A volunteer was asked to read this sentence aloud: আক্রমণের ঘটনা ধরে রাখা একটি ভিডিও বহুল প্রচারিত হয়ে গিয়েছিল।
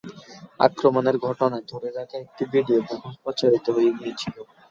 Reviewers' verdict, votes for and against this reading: accepted, 2, 0